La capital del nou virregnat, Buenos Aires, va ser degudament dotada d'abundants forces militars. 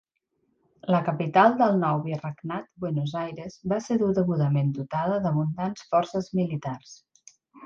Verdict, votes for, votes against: accepted, 2, 0